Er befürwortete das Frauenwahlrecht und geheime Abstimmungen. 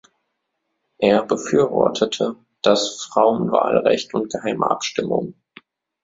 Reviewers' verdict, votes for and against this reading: accepted, 2, 0